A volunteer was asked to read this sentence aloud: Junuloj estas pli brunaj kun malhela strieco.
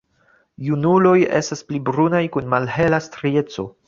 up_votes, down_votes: 2, 0